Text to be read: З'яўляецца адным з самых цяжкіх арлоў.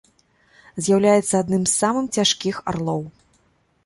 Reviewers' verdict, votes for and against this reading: rejected, 1, 2